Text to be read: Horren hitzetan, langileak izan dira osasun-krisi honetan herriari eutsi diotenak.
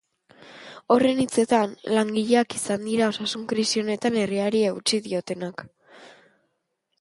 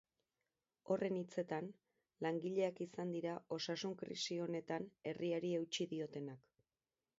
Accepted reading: first